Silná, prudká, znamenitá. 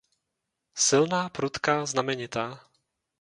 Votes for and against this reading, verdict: 2, 0, accepted